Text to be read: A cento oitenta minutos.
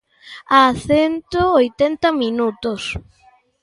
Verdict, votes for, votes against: accepted, 2, 0